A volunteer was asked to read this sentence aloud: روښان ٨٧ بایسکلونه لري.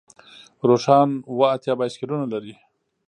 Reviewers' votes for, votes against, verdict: 0, 2, rejected